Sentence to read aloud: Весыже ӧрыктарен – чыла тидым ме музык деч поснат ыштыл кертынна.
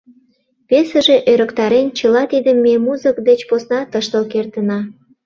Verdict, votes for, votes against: rejected, 0, 2